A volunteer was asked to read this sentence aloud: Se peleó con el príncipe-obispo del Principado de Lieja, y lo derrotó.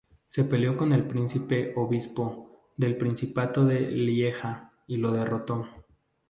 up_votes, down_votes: 0, 2